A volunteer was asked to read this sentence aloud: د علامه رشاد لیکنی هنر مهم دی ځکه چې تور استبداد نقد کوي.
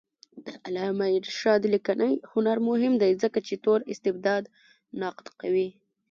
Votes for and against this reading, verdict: 0, 2, rejected